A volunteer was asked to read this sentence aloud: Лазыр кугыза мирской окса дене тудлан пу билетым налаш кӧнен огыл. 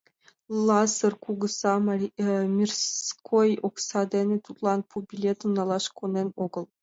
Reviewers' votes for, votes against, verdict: 1, 2, rejected